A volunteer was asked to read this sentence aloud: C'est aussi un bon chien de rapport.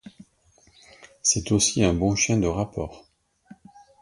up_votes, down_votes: 2, 0